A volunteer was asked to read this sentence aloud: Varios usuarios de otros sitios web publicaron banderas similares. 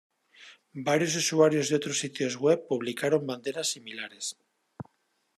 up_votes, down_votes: 2, 0